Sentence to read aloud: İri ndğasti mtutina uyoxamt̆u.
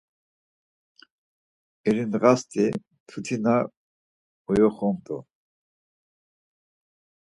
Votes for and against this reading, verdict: 4, 2, accepted